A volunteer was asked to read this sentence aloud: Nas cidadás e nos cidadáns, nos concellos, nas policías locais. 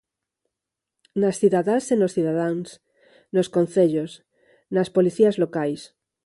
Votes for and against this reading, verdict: 4, 0, accepted